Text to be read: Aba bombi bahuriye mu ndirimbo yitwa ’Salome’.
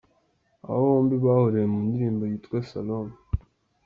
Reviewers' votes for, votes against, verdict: 2, 0, accepted